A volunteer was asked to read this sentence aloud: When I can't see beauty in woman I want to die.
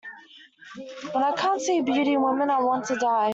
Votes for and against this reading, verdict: 0, 2, rejected